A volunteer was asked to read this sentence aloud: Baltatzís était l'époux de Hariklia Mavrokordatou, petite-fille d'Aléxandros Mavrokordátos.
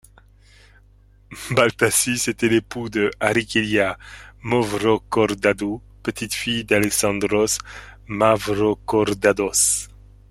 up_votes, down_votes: 1, 2